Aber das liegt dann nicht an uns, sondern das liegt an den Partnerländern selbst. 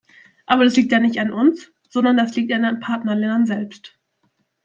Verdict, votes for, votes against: rejected, 0, 2